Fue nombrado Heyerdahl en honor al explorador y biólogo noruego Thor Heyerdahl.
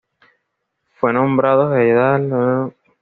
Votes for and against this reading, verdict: 1, 2, rejected